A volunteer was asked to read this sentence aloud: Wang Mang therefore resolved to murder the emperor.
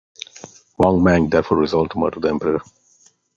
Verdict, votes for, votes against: rejected, 1, 2